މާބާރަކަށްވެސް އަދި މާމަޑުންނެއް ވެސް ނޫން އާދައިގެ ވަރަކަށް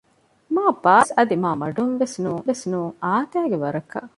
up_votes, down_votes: 0, 2